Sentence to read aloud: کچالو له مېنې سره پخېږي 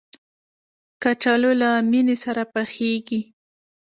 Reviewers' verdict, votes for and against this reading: rejected, 1, 2